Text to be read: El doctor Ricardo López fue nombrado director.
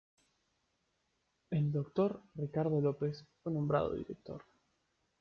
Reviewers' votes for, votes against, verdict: 0, 2, rejected